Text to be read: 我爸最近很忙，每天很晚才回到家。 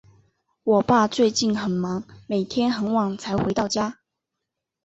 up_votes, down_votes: 2, 0